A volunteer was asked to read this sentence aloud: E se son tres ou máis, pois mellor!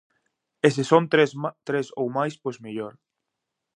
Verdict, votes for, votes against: rejected, 0, 2